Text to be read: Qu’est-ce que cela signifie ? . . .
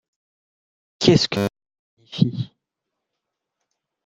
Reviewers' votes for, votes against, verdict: 0, 2, rejected